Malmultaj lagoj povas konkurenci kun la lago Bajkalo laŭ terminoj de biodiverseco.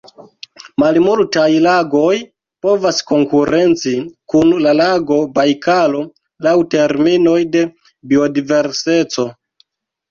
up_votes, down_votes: 1, 2